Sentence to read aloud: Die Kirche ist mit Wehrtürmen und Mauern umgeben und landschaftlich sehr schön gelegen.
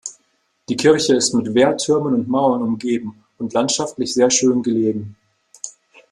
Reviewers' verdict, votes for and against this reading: accepted, 2, 0